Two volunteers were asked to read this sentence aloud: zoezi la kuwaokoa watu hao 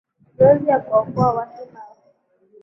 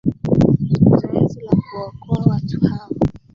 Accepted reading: first